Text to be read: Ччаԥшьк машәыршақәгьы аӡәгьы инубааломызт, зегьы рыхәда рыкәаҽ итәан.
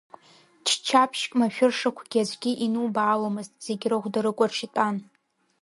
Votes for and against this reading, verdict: 0, 2, rejected